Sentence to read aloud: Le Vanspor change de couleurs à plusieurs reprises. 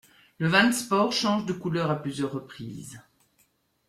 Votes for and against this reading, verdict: 1, 2, rejected